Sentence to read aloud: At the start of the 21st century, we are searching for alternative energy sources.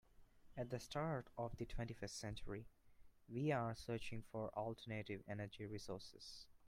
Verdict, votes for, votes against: rejected, 0, 2